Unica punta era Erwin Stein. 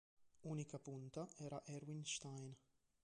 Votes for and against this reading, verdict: 0, 2, rejected